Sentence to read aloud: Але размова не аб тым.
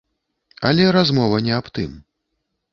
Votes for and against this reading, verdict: 2, 0, accepted